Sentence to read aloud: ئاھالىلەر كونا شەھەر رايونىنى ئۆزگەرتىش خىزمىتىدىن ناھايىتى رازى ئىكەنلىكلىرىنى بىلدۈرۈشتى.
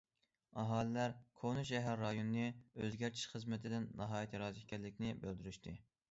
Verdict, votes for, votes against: rejected, 1, 2